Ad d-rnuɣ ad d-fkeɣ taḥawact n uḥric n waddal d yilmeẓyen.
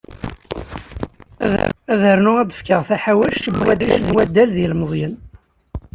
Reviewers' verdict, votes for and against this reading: accepted, 2, 1